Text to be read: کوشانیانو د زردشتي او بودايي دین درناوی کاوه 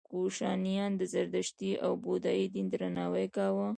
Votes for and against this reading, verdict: 1, 2, rejected